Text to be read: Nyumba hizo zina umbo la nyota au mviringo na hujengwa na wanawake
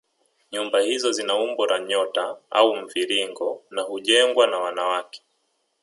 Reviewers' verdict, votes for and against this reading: accepted, 2, 1